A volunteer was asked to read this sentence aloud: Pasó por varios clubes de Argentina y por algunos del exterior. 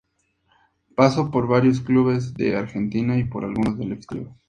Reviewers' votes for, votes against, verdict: 0, 2, rejected